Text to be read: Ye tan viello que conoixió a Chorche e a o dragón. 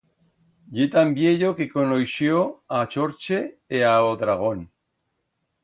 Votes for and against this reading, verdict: 2, 0, accepted